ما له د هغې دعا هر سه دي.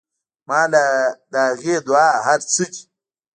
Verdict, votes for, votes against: rejected, 0, 2